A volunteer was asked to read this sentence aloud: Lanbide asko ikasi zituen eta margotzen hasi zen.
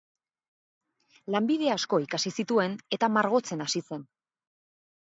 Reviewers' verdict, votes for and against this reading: accepted, 4, 2